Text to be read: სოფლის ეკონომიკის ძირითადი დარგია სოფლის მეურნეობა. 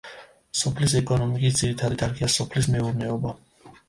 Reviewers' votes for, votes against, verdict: 1, 2, rejected